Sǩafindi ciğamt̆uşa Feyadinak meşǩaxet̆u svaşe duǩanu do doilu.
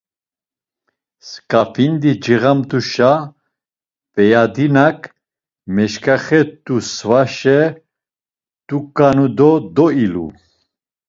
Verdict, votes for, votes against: accepted, 2, 0